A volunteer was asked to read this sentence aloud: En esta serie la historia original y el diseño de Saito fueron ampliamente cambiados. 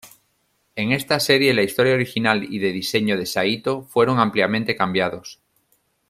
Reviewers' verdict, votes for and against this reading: rejected, 1, 2